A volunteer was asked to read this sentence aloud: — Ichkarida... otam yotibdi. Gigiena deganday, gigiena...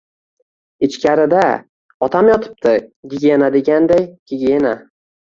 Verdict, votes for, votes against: rejected, 1, 2